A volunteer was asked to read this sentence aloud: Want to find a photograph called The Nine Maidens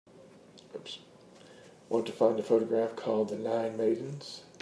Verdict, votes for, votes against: accepted, 2, 0